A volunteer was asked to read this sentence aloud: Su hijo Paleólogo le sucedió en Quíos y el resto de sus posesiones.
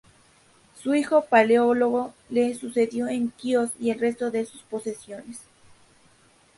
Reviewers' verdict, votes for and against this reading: rejected, 0, 2